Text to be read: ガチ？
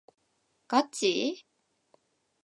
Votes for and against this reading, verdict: 2, 0, accepted